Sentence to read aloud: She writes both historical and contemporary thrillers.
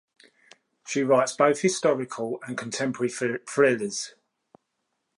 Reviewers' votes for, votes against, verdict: 0, 2, rejected